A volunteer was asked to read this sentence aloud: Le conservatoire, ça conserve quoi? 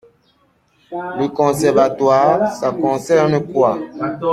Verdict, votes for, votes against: rejected, 1, 2